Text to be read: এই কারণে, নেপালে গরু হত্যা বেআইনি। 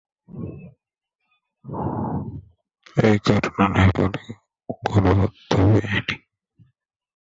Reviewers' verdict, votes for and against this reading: rejected, 0, 2